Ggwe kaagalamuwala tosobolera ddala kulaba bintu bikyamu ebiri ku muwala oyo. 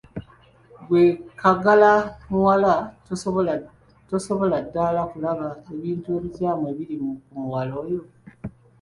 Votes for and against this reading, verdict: 1, 3, rejected